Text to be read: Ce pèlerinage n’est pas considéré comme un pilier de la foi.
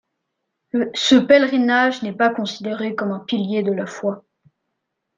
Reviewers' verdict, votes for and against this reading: accepted, 2, 0